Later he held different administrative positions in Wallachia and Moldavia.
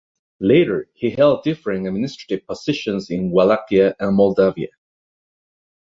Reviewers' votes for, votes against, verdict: 2, 0, accepted